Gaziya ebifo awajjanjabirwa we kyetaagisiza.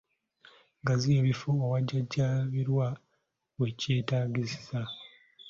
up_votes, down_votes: 2, 0